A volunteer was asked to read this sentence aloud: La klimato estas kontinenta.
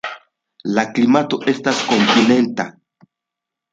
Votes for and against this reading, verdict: 2, 0, accepted